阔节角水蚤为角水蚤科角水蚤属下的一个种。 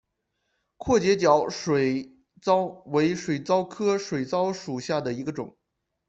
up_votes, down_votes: 2, 0